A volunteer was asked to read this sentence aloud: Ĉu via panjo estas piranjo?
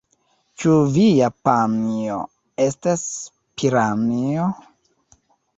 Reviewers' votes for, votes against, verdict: 1, 2, rejected